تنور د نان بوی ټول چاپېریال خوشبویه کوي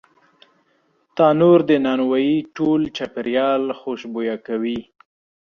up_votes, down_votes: 1, 2